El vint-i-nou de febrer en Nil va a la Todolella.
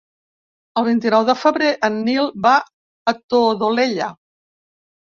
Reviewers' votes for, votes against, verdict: 1, 2, rejected